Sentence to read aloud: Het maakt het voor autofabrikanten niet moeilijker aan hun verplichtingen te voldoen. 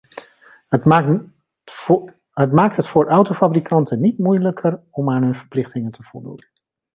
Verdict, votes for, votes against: rejected, 0, 2